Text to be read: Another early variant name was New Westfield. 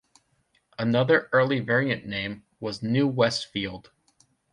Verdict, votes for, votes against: accepted, 2, 0